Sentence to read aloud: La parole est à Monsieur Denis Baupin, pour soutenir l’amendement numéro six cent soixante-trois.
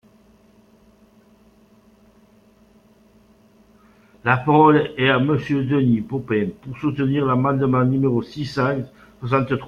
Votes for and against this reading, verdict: 0, 2, rejected